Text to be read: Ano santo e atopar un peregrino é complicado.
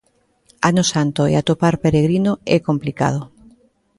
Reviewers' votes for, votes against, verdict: 0, 2, rejected